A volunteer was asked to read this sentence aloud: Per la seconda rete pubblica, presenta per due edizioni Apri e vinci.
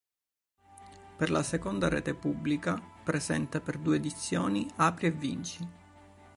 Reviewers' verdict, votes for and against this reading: accepted, 2, 0